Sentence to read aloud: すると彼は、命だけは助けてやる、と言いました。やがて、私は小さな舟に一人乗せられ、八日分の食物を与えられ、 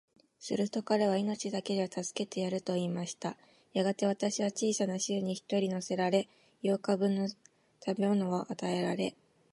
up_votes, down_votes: 0, 2